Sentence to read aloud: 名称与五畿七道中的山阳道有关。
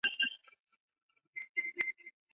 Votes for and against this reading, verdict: 0, 3, rejected